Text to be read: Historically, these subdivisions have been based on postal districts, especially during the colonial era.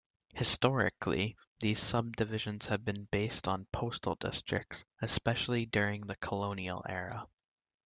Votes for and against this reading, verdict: 2, 0, accepted